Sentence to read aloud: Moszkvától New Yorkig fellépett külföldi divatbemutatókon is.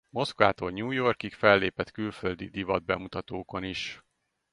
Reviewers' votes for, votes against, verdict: 2, 0, accepted